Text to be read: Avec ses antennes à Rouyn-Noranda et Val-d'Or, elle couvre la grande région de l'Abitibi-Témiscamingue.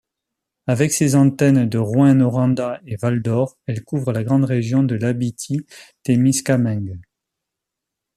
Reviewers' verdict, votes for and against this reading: rejected, 1, 2